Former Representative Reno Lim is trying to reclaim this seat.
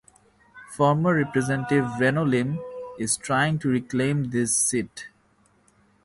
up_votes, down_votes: 0, 2